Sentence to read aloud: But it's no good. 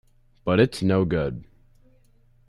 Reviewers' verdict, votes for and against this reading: accepted, 2, 0